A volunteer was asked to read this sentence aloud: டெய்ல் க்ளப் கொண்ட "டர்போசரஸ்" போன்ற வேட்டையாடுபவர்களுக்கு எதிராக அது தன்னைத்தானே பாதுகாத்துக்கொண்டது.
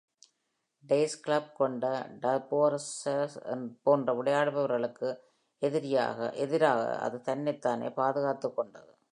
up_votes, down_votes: 0, 2